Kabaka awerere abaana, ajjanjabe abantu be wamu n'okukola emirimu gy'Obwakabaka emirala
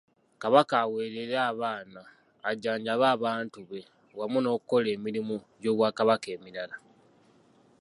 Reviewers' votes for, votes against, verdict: 2, 0, accepted